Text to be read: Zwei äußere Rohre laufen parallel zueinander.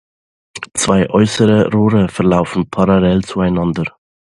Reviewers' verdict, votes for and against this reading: rejected, 0, 2